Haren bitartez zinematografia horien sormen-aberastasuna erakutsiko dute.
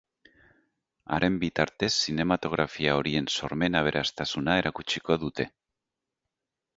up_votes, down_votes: 2, 0